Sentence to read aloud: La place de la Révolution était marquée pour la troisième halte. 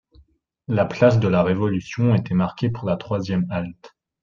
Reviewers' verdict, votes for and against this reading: accepted, 2, 0